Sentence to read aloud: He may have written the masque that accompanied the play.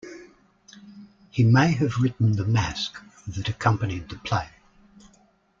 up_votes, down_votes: 2, 1